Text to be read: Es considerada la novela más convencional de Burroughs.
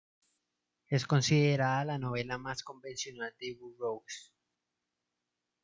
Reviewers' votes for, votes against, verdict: 1, 2, rejected